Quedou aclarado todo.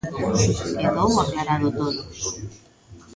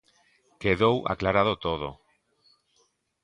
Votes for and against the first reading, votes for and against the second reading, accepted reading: 1, 2, 2, 0, second